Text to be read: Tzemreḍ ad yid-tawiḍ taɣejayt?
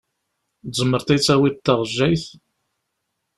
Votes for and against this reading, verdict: 2, 0, accepted